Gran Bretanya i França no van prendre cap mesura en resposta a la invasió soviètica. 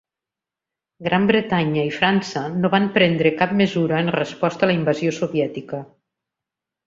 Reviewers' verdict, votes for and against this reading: accepted, 2, 0